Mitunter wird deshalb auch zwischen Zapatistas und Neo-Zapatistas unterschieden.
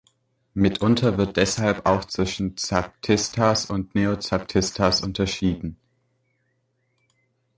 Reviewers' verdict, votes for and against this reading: rejected, 1, 2